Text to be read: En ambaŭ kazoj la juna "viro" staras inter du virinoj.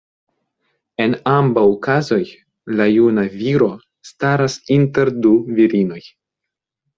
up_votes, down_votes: 2, 0